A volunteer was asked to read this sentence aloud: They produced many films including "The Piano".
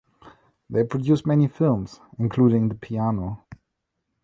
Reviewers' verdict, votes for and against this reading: rejected, 1, 2